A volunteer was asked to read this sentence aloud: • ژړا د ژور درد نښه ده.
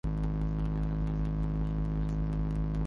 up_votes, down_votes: 0, 4